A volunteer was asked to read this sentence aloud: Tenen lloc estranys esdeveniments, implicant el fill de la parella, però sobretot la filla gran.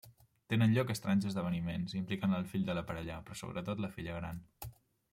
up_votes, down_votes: 2, 1